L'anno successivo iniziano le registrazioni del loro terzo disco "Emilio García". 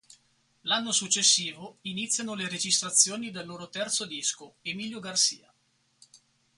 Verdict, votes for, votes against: rejected, 2, 4